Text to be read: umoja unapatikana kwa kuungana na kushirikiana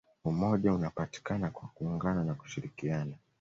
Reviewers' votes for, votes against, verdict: 2, 0, accepted